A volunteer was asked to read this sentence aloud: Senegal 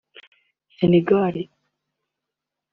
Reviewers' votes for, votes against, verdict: 2, 1, accepted